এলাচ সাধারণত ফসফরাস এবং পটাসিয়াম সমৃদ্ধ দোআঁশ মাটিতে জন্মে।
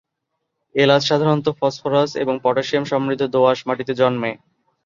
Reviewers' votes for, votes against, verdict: 2, 1, accepted